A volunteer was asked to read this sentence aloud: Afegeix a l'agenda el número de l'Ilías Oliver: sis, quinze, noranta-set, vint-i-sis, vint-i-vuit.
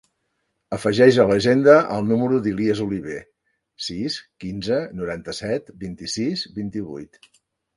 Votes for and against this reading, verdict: 1, 2, rejected